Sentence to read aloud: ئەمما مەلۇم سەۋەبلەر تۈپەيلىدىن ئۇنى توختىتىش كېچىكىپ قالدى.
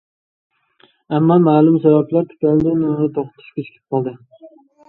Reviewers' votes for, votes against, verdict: 1, 2, rejected